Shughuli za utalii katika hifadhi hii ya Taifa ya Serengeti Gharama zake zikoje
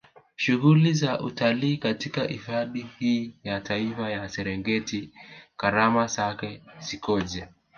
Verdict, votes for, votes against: rejected, 0, 2